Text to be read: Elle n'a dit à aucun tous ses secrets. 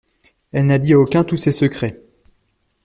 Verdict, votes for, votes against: accepted, 2, 0